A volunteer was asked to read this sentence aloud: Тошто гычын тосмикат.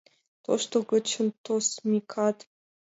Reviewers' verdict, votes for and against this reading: rejected, 1, 2